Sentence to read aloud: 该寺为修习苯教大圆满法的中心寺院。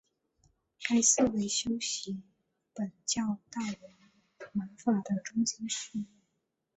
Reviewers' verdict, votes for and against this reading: rejected, 0, 3